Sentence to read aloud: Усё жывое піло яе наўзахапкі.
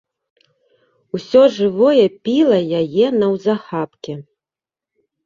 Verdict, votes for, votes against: rejected, 1, 2